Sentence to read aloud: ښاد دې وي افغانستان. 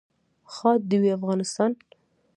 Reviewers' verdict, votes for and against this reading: rejected, 1, 2